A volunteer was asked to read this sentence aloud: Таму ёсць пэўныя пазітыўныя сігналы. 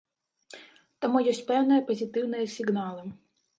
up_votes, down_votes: 0, 2